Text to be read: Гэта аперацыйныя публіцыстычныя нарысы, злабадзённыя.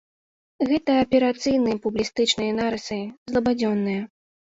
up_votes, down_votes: 0, 2